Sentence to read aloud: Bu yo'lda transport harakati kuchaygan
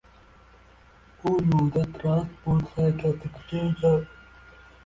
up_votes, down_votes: 0, 2